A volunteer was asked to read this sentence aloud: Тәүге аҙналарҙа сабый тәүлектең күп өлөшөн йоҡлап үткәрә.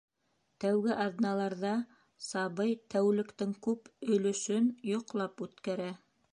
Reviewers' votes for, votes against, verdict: 5, 0, accepted